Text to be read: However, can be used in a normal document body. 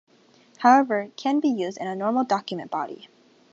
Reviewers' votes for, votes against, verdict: 3, 0, accepted